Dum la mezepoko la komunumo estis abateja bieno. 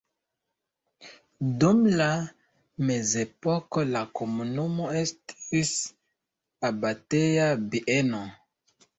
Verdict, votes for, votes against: rejected, 1, 2